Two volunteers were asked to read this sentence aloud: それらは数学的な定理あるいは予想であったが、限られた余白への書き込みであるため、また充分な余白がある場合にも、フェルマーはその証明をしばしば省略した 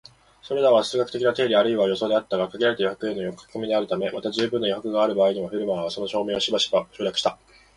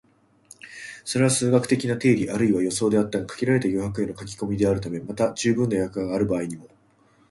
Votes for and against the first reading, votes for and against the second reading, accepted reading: 2, 0, 0, 2, first